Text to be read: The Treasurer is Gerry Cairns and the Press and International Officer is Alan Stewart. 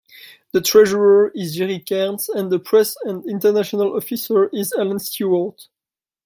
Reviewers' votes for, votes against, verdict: 1, 2, rejected